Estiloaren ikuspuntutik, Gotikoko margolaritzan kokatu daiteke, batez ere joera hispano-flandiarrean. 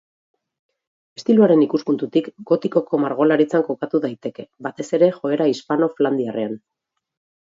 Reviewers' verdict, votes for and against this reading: rejected, 0, 2